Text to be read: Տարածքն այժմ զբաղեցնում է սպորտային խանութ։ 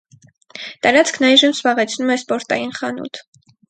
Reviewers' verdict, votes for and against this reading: accepted, 4, 0